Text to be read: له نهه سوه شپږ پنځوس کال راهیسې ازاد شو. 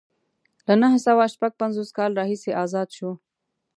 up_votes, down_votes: 2, 0